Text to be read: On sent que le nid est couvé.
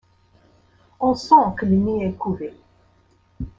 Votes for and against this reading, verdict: 2, 0, accepted